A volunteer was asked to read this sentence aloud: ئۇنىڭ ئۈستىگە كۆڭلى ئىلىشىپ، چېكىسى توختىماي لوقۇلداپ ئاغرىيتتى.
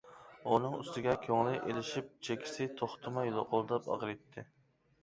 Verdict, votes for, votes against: accepted, 2, 0